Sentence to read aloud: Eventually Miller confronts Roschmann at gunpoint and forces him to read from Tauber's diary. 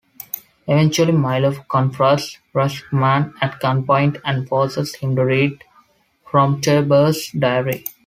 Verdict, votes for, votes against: rejected, 0, 2